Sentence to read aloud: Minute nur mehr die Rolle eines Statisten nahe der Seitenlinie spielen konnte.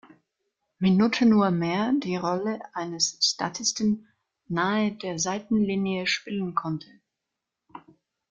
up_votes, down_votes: 1, 2